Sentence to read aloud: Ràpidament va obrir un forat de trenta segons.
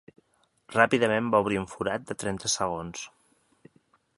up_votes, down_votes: 3, 0